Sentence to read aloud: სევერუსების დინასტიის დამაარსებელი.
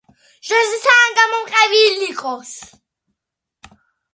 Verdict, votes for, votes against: rejected, 1, 2